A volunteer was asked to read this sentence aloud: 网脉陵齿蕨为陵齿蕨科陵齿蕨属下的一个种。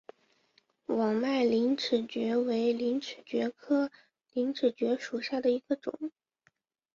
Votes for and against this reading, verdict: 6, 0, accepted